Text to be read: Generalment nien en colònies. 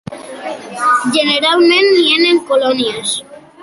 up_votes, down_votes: 2, 1